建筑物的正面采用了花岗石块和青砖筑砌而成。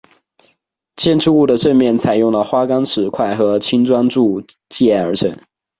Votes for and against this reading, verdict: 0, 2, rejected